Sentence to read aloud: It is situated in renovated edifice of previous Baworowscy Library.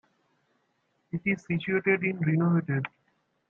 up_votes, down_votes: 0, 2